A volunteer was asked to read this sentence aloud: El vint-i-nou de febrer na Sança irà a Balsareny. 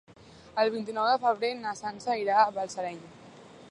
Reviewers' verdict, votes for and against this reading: accepted, 2, 0